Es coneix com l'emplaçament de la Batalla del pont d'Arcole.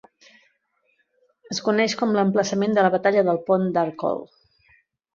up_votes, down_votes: 2, 0